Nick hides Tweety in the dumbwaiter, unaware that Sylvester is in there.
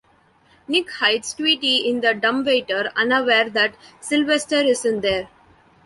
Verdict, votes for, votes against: accepted, 2, 0